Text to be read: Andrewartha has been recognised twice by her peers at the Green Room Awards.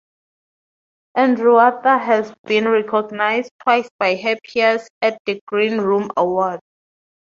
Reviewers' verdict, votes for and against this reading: accepted, 4, 0